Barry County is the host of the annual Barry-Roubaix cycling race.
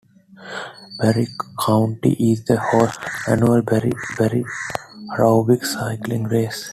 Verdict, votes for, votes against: rejected, 0, 2